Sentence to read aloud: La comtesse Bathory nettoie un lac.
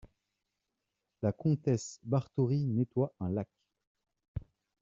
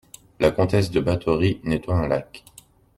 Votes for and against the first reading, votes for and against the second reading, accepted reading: 2, 0, 0, 2, first